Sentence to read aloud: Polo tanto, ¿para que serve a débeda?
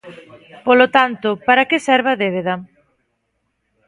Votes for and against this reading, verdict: 2, 0, accepted